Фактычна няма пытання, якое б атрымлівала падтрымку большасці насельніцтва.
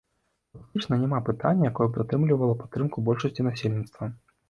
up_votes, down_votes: 1, 3